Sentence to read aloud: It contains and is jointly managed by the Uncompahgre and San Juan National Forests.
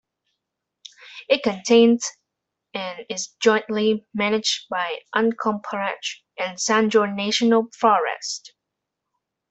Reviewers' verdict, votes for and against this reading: accepted, 2, 0